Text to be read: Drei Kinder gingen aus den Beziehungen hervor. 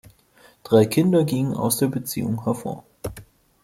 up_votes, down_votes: 0, 2